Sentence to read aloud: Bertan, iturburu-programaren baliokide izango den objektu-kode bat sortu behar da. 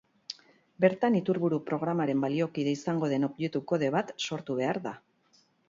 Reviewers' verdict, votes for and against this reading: accepted, 2, 0